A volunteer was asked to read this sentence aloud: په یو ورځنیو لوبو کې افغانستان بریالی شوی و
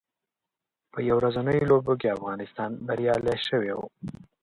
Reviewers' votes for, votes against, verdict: 2, 0, accepted